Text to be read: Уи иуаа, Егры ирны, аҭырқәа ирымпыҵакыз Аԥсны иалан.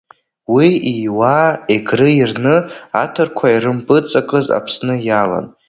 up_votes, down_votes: 0, 2